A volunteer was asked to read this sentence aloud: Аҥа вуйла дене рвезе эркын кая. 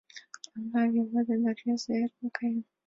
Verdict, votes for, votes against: rejected, 1, 3